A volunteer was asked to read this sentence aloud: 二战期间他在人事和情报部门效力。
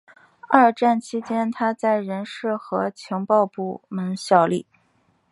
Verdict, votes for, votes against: accepted, 6, 1